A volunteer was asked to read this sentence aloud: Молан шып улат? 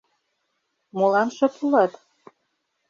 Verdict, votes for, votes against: accepted, 2, 0